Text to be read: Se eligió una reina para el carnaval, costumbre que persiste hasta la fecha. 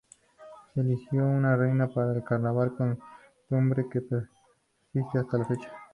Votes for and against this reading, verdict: 2, 0, accepted